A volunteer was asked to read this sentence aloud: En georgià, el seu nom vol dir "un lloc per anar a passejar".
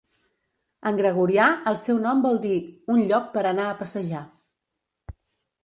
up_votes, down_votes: 0, 2